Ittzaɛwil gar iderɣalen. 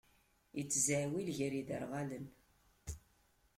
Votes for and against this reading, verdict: 2, 1, accepted